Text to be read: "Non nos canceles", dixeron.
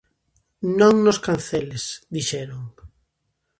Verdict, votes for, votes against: accepted, 2, 0